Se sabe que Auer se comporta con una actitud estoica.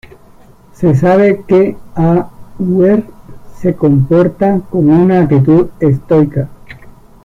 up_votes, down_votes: 1, 2